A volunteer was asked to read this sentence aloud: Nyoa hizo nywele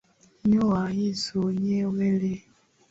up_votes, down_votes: 5, 3